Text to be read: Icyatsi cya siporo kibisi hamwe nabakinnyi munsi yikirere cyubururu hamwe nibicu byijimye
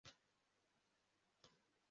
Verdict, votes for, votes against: rejected, 0, 2